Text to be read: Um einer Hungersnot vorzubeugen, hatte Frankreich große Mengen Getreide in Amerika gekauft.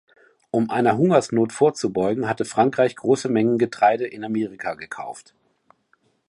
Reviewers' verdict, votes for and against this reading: accepted, 2, 0